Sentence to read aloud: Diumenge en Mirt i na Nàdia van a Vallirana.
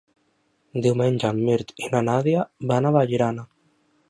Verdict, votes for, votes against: accepted, 3, 0